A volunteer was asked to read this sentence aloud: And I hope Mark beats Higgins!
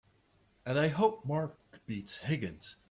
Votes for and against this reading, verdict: 2, 0, accepted